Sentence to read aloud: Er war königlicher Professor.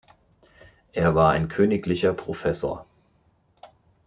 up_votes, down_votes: 0, 2